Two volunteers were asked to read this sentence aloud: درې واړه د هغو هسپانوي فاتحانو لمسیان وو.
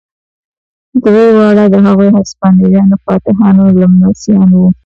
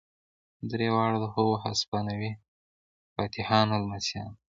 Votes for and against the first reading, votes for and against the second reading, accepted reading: 0, 2, 2, 1, second